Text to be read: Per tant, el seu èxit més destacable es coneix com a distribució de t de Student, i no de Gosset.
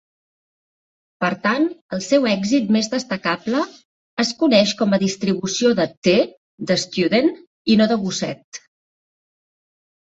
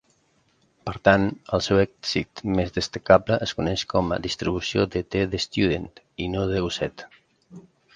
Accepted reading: first